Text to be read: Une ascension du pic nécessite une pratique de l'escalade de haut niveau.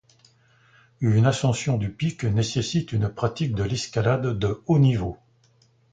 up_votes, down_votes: 2, 0